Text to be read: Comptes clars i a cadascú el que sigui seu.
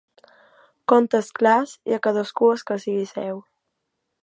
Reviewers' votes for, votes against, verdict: 1, 2, rejected